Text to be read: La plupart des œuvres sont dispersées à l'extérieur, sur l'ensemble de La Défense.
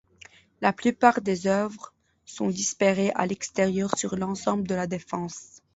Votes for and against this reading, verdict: 0, 2, rejected